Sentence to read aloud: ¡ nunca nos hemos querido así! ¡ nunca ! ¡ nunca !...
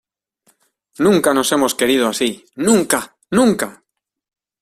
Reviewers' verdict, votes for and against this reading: accepted, 2, 0